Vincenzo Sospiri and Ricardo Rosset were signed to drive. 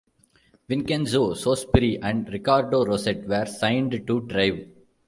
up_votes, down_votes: 1, 2